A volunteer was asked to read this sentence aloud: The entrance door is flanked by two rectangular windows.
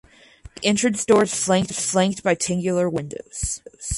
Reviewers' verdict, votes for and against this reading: rejected, 0, 4